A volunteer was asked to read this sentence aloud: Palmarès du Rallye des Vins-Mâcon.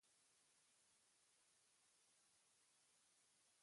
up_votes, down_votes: 1, 2